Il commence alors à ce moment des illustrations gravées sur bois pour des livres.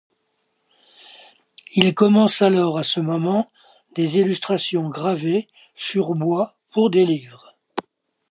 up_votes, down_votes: 2, 0